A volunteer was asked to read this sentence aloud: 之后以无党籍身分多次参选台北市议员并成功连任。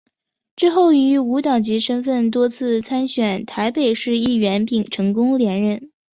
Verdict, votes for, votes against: accepted, 3, 0